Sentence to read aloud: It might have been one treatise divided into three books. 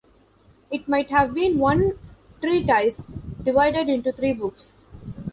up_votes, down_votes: 1, 2